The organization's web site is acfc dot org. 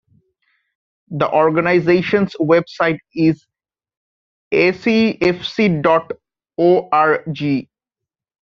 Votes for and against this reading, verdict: 2, 0, accepted